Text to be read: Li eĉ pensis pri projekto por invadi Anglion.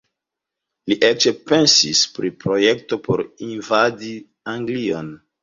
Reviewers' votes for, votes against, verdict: 0, 2, rejected